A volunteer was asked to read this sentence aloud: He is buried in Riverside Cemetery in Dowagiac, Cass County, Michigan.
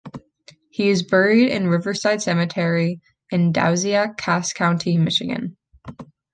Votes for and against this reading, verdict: 2, 1, accepted